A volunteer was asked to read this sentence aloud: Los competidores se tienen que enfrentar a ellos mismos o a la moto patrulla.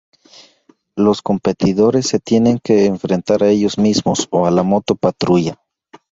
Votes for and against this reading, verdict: 2, 0, accepted